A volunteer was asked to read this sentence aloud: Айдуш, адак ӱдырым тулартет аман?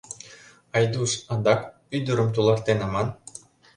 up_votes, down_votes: 0, 2